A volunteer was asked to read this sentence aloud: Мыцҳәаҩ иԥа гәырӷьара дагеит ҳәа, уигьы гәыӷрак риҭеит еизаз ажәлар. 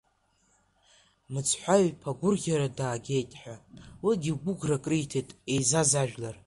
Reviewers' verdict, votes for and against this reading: accepted, 2, 1